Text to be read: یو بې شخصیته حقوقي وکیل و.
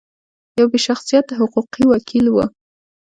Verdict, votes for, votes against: accepted, 2, 0